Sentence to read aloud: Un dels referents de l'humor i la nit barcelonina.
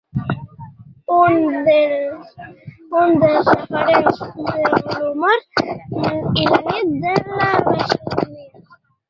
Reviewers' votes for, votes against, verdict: 0, 2, rejected